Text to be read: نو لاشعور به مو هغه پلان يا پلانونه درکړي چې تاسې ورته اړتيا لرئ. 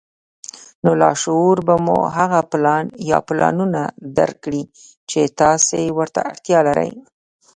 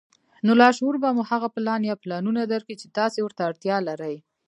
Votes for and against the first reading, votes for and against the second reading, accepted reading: 1, 2, 2, 1, second